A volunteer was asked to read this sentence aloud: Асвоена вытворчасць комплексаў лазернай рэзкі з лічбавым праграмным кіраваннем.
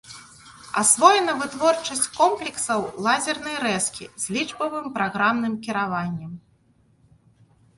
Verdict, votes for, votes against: accepted, 2, 0